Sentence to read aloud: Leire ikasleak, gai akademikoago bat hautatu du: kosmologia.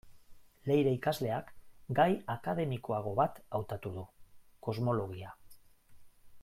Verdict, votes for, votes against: accepted, 2, 0